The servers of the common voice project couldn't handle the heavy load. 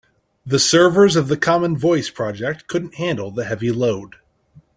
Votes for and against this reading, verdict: 3, 0, accepted